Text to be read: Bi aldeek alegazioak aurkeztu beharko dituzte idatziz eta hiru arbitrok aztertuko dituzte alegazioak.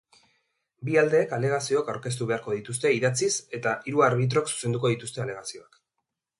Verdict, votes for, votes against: rejected, 1, 2